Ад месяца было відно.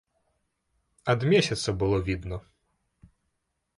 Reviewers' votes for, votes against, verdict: 1, 2, rejected